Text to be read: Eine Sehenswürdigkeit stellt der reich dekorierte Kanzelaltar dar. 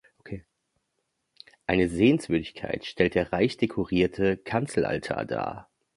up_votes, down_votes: 3, 0